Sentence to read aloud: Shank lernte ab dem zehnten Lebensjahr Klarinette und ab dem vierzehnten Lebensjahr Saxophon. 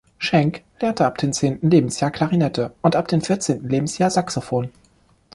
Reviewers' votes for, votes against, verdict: 2, 0, accepted